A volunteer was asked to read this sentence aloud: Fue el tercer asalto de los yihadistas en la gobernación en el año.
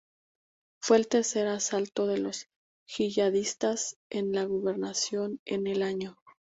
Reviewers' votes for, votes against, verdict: 0, 2, rejected